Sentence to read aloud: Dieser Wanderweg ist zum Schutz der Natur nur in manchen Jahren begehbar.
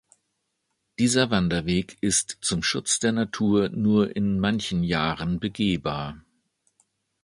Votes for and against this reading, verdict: 2, 0, accepted